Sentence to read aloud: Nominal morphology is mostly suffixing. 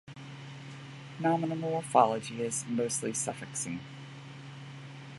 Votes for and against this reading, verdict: 2, 0, accepted